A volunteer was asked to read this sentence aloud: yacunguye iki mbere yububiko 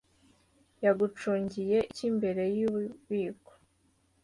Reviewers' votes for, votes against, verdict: 2, 0, accepted